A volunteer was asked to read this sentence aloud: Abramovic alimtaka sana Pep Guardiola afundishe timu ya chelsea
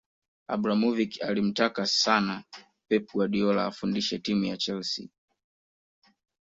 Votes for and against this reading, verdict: 2, 0, accepted